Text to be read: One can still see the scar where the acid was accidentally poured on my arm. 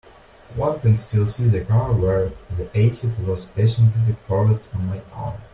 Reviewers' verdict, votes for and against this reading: rejected, 0, 2